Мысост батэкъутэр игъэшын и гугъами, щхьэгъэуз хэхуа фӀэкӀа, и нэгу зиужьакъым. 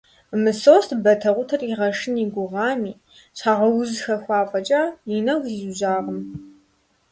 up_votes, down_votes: 2, 0